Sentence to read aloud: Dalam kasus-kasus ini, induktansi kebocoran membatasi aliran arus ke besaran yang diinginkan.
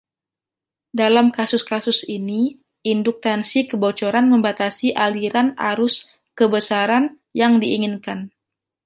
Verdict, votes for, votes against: rejected, 0, 2